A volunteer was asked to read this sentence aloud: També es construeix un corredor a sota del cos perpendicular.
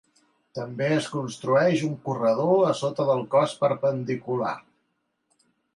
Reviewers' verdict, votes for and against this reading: accepted, 2, 0